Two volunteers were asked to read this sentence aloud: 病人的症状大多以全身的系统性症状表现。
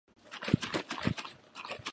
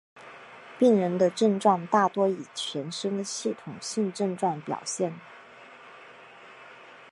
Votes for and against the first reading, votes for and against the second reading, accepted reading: 1, 3, 3, 0, second